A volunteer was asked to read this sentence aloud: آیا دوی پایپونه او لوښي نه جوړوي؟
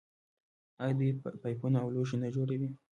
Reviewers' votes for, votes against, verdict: 2, 0, accepted